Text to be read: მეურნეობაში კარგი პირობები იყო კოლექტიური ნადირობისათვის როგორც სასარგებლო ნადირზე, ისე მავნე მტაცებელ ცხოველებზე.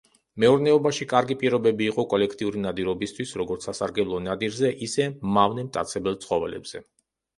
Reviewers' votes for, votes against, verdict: 0, 2, rejected